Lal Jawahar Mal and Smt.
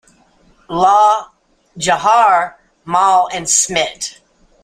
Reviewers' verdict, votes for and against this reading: accepted, 2, 1